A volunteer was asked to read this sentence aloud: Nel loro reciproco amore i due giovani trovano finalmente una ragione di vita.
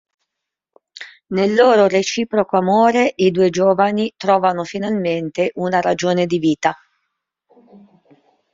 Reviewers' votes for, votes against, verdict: 2, 0, accepted